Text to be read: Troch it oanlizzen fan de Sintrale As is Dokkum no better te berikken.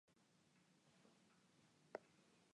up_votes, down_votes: 0, 2